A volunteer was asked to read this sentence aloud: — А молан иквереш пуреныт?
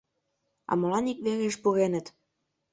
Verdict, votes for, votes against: rejected, 0, 2